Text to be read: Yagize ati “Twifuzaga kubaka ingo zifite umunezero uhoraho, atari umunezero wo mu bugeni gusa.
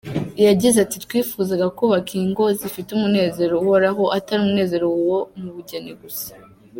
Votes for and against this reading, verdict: 2, 1, accepted